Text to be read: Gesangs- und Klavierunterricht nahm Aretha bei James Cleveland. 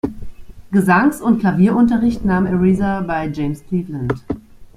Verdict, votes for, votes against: accepted, 2, 0